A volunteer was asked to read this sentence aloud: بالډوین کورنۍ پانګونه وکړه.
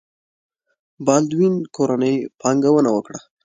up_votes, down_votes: 2, 0